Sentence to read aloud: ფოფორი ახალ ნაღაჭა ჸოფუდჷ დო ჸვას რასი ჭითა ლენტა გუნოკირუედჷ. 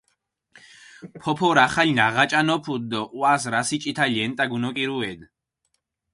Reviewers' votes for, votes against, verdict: 2, 4, rejected